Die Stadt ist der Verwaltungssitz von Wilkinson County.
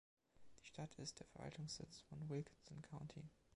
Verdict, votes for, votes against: accepted, 2, 0